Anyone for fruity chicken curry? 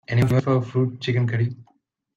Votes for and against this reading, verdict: 1, 2, rejected